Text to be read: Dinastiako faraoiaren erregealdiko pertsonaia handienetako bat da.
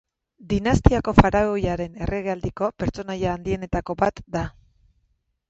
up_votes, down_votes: 2, 2